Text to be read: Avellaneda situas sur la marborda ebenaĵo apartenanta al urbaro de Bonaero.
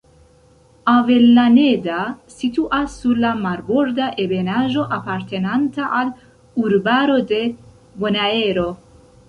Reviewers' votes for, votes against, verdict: 2, 0, accepted